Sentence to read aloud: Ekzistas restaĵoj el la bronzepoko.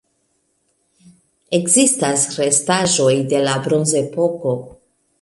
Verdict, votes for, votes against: rejected, 0, 2